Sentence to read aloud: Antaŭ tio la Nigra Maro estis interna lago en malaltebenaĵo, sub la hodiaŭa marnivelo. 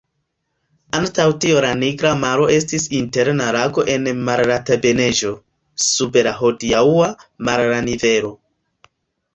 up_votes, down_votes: 1, 2